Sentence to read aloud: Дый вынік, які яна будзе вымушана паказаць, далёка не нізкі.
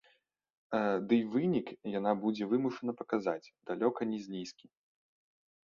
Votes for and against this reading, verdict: 0, 2, rejected